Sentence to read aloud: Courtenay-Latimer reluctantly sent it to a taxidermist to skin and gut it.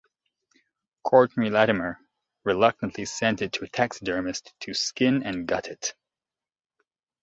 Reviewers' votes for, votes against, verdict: 2, 0, accepted